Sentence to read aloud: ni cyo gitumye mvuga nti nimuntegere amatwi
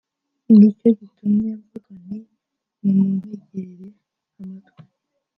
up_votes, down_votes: 1, 2